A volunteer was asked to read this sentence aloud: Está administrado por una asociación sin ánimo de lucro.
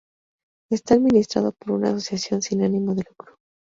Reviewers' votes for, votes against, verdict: 0, 2, rejected